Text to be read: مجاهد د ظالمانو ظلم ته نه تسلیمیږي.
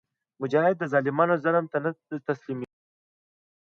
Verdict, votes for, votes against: rejected, 0, 2